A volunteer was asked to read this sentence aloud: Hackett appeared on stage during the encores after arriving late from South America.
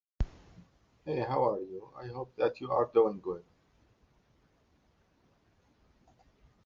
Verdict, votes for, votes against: rejected, 0, 2